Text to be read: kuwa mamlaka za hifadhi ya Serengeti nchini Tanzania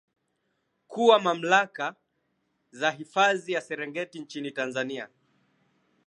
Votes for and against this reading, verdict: 2, 0, accepted